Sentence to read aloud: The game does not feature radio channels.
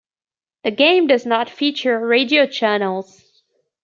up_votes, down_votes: 2, 0